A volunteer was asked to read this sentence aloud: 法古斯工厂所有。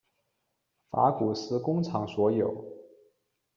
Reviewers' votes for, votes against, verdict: 2, 0, accepted